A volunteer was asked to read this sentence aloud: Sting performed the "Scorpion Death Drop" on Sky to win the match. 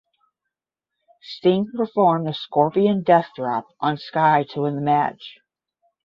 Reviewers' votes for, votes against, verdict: 5, 10, rejected